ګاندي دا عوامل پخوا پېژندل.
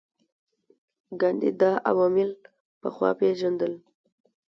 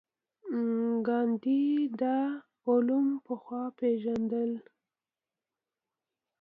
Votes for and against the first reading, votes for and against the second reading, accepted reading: 2, 0, 0, 2, first